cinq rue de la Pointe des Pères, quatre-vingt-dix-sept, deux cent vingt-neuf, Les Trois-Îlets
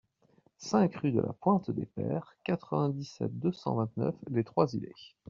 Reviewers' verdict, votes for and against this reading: accepted, 2, 0